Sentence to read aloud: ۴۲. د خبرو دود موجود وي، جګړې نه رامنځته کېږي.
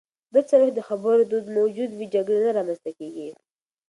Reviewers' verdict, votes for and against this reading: rejected, 0, 2